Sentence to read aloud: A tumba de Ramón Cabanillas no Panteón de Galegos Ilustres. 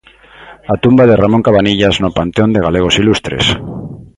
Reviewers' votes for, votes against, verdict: 3, 0, accepted